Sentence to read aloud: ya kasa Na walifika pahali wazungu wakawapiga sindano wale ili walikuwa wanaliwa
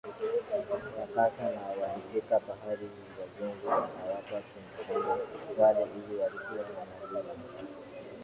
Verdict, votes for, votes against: rejected, 3, 8